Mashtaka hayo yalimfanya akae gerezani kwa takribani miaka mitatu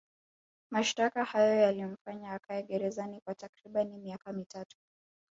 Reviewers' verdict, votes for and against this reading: accepted, 2, 0